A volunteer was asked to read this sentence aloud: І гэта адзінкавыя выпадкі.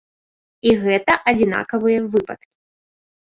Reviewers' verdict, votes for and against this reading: rejected, 0, 2